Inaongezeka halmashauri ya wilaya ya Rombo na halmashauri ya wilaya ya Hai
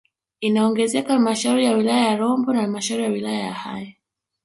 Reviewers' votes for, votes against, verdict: 1, 2, rejected